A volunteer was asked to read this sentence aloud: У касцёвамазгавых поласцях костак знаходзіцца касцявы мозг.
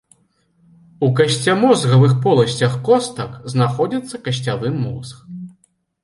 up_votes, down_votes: 1, 2